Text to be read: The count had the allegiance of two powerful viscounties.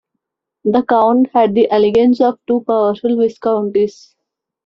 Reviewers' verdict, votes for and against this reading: rejected, 1, 2